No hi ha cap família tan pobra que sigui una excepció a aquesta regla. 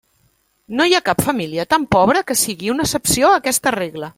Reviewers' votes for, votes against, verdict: 1, 2, rejected